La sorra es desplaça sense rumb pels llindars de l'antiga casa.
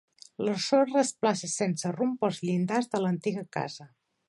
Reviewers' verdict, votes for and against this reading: rejected, 1, 2